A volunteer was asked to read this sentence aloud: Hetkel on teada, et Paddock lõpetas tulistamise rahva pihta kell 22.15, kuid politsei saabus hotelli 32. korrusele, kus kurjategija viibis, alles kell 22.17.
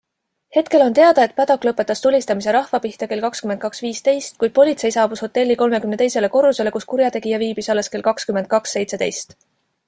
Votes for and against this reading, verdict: 0, 2, rejected